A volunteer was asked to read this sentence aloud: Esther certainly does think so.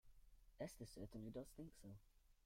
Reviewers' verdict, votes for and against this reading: rejected, 0, 2